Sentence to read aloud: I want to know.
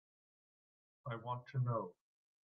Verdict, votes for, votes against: accepted, 2, 0